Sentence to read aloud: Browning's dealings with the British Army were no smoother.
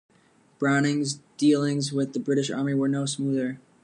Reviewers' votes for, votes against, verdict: 2, 0, accepted